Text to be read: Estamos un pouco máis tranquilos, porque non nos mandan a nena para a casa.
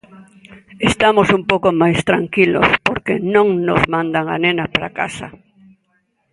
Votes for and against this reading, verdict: 2, 0, accepted